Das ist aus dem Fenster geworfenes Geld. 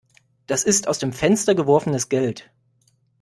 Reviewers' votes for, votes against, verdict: 2, 0, accepted